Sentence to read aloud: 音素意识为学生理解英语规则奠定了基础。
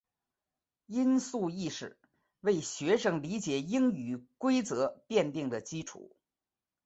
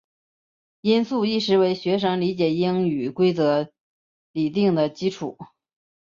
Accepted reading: first